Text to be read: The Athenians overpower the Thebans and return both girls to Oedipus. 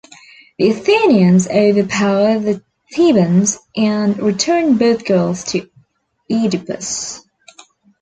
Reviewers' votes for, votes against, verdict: 1, 2, rejected